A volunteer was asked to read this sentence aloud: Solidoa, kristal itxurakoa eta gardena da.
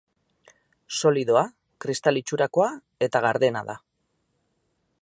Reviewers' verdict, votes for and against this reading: accepted, 8, 0